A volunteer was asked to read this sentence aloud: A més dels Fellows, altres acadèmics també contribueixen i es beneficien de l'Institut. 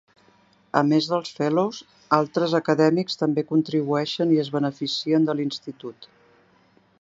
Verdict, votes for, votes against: accepted, 2, 0